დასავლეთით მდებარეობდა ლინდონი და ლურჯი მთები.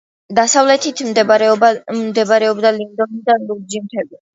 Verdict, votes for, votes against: rejected, 0, 2